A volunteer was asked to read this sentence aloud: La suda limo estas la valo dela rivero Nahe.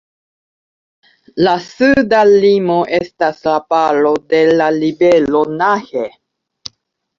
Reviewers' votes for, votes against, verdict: 0, 3, rejected